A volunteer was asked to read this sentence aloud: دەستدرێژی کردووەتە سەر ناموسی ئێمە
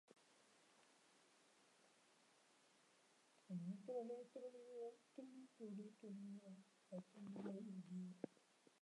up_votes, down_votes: 0, 2